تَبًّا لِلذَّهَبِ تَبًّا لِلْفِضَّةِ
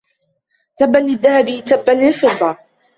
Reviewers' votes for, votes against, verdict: 2, 0, accepted